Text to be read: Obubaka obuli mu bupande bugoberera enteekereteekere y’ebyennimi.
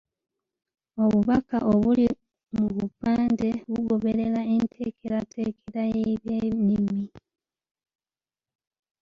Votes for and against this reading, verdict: 1, 2, rejected